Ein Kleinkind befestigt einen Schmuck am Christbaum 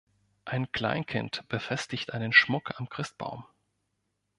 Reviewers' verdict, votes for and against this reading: accepted, 2, 0